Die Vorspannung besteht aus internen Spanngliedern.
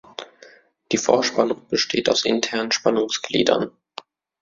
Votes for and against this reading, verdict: 0, 2, rejected